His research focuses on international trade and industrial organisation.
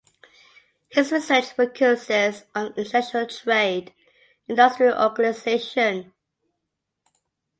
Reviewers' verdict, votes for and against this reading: rejected, 0, 2